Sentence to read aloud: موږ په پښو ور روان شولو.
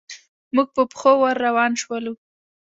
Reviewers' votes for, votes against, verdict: 2, 0, accepted